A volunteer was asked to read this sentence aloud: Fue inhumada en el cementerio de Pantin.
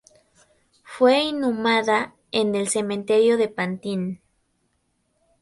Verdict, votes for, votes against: accepted, 4, 0